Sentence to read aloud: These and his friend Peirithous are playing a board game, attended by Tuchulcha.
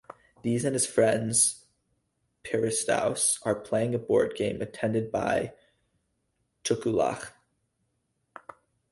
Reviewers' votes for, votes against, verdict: 2, 2, rejected